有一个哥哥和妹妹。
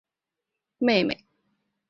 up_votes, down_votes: 0, 2